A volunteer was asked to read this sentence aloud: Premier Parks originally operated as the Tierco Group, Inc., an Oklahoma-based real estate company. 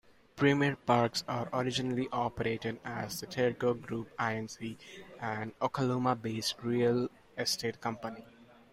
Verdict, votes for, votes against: accepted, 2, 1